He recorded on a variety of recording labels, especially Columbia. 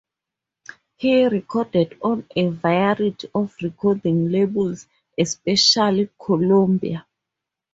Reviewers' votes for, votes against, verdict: 4, 0, accepted